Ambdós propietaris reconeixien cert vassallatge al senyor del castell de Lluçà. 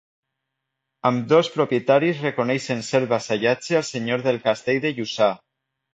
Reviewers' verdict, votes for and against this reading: accepted, 2, 0